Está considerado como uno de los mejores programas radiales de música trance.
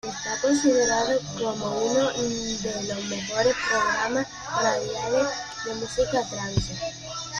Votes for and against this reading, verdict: 0, 2, rejected